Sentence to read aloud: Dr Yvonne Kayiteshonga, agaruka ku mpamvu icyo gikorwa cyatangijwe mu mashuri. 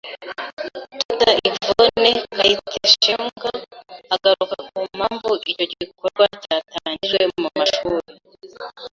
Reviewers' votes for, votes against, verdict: 0, 2, rejected